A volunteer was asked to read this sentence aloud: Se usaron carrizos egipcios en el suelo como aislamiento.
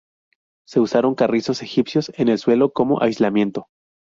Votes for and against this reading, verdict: 2, 0, accepted